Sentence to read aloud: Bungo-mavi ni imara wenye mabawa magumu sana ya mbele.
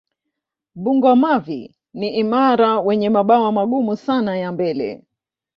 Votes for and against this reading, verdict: 2, 0, accepted